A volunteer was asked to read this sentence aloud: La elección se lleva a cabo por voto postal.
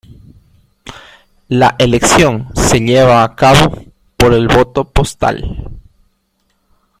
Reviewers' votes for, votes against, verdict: 1, 2, rejected